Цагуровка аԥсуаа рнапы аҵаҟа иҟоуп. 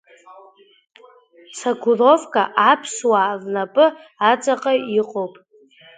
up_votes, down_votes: 1, 2